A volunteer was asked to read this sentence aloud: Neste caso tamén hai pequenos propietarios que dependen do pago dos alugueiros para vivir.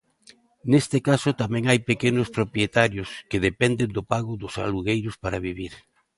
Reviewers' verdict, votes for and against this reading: accepted, 2, 0